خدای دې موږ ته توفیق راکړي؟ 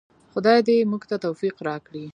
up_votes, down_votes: 2, 0